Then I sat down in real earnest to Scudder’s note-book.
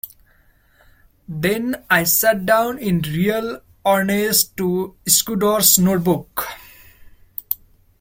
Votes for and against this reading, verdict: 0, 2, rejected